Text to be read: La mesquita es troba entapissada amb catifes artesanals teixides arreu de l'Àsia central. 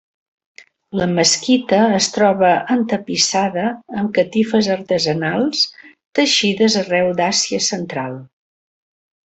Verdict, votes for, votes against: accepted, 2, 1